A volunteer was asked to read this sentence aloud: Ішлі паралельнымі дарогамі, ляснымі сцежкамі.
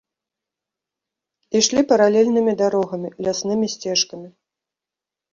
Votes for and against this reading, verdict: 1, 2, rejected